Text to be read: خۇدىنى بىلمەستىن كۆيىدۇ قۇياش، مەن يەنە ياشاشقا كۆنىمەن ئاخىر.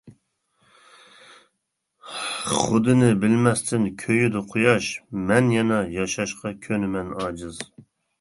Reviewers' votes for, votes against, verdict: 0, 2, rejected